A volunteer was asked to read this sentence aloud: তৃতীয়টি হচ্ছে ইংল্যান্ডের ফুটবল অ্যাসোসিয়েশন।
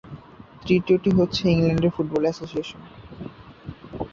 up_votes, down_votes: 4, 4